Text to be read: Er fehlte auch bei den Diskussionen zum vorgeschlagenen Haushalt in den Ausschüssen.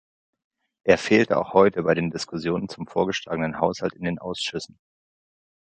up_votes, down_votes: 1, 2